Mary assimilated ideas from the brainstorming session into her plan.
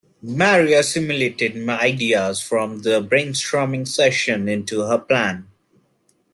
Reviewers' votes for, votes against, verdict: 1, 2, rejected